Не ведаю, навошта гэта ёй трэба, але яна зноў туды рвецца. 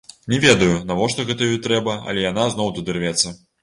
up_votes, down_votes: 1, 2